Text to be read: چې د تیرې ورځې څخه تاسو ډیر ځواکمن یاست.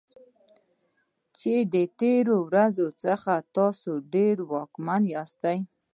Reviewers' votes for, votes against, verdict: 0, 2, rejected